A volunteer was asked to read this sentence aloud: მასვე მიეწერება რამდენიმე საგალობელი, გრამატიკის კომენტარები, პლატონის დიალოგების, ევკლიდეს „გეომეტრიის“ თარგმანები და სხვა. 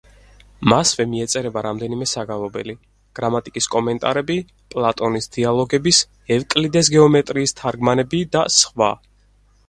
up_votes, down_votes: 4, 0